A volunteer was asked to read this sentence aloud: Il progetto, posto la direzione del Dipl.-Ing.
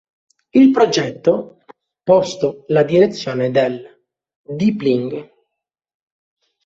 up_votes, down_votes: 1, 2